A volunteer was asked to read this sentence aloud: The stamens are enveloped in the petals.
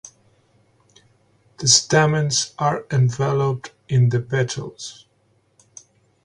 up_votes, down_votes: 2, 0